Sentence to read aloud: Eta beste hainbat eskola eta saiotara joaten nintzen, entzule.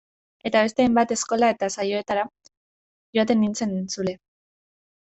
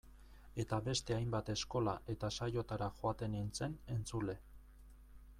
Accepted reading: second